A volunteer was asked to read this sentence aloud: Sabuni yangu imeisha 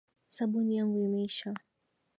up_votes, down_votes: 2, 0